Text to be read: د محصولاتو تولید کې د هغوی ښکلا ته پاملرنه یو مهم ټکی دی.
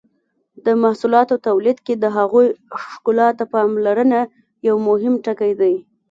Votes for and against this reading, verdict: 2, 0, accepted